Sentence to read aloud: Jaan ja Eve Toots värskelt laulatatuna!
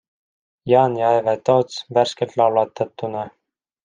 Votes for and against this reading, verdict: 2, 0, accepted